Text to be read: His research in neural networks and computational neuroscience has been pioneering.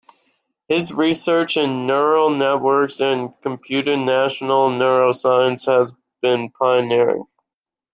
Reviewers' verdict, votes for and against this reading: rejected, 1, 2